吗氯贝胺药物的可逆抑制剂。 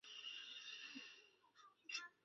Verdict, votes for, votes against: rejected, 0, 2